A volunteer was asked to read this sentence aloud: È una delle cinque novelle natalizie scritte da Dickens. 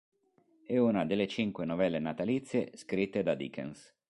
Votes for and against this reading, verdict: 2, 0, accepted